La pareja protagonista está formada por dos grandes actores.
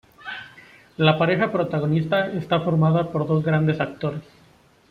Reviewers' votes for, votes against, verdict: 2, 0, accepted